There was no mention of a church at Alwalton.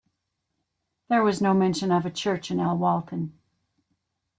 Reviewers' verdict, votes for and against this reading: accepted, 2, 1